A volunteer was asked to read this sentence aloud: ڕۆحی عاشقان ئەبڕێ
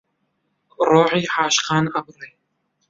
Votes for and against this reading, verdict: 0, 2, rejected